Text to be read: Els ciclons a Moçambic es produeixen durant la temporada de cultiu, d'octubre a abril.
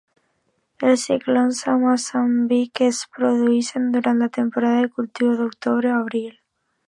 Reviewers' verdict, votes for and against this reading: accepted, 2, 0